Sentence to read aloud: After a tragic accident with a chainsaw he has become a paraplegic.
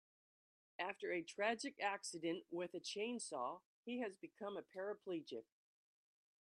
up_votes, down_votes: 2, 0